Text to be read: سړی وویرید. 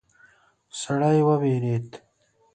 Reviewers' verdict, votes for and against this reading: accepted, 2, 0